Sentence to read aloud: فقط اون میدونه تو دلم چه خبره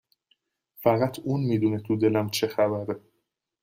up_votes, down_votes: 2, 0